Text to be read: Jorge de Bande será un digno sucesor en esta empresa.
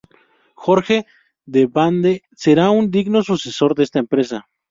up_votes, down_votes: 2, 0